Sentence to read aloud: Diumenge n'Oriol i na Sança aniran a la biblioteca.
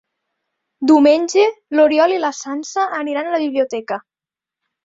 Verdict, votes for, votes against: rejected, 0, 2